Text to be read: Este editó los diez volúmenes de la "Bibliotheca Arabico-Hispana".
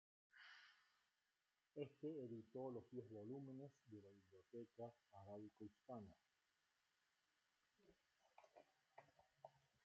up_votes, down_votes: 0, 2